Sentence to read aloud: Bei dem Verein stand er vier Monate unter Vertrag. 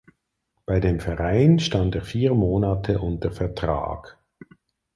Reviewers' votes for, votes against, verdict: 4, 0, accepted